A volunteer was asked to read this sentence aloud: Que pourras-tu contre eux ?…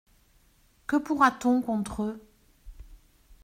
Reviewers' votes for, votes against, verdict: 0, 2, rejected